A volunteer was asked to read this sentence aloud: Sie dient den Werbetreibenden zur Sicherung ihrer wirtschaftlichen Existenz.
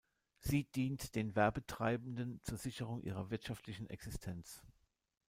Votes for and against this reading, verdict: 2, 0, accepted